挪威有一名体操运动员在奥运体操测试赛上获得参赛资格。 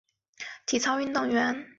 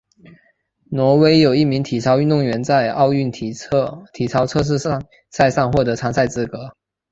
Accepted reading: second